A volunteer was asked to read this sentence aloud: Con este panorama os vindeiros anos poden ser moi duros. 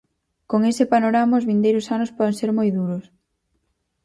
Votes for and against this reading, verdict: 2, 2, rejected